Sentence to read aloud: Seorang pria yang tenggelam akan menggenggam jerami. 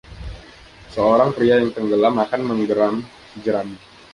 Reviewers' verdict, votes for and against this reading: rejected, 0, 2